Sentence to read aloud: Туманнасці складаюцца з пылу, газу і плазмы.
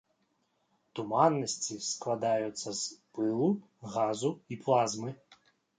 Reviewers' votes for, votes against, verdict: 2, 0, accepted